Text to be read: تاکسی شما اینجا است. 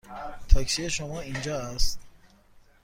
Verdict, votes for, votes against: accepted, 2, 0